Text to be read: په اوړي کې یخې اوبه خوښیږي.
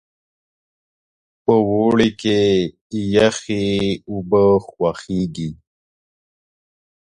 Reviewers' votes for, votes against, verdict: 2, 0, accepted